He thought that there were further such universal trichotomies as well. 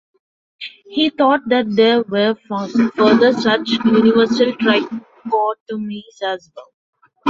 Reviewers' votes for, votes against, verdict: 1, 2, rejected